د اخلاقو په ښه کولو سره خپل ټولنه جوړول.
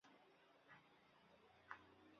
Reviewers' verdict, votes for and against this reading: rejected, 0, 2